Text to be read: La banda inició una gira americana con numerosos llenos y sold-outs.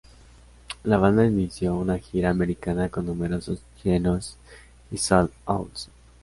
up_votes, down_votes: 0, 2